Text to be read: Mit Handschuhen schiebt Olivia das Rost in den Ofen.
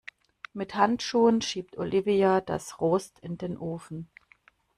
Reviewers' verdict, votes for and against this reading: rejected, 1, 2